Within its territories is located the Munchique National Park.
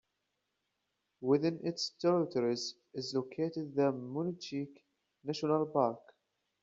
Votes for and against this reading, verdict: 1, 2, rejected